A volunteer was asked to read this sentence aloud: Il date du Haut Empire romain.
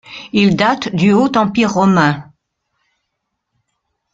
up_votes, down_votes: 2, 0